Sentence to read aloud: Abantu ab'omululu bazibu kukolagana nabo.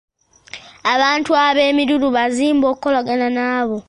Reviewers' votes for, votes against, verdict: 1, 2, rejected